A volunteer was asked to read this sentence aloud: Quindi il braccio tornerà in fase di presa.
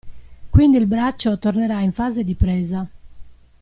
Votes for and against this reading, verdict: 2, 0, accepted